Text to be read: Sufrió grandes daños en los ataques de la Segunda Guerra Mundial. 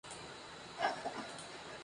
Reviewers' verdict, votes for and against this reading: rejected, 0, 2